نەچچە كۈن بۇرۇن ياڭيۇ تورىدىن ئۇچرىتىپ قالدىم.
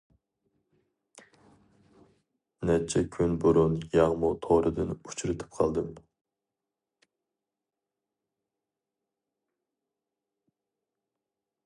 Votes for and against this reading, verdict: 2, 2, rejected